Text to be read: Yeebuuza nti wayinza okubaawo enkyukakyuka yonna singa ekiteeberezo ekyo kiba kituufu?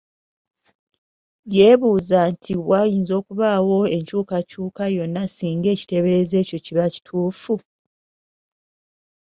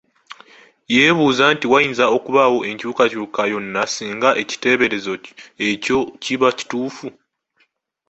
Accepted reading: first